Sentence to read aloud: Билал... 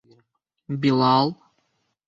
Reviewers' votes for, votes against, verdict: 2, 1, accepted